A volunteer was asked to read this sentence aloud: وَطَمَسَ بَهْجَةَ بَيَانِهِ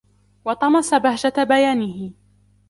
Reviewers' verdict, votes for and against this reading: accepted, 2, 1